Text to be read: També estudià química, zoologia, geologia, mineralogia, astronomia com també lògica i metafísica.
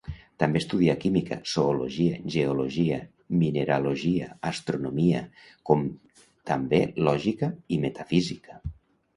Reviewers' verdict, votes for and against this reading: accepted, 2, 0